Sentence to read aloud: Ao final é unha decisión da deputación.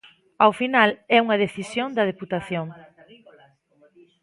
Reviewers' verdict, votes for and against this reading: rejected, 1, 2